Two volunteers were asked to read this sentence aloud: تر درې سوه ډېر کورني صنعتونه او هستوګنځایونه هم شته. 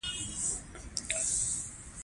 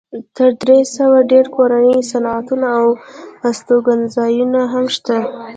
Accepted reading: second